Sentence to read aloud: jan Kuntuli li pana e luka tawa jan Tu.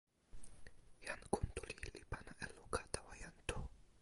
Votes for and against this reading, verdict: 2, 0, accepted